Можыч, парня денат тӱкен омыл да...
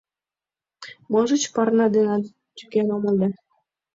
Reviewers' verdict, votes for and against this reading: accepted, 2, 0